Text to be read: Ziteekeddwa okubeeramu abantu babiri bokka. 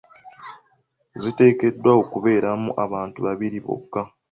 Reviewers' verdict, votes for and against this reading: accepted, 2, 0